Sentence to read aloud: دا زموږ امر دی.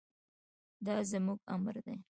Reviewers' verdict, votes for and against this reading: accepted, 2, 1